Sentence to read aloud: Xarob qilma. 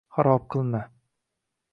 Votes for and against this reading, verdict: 2, 0, accepted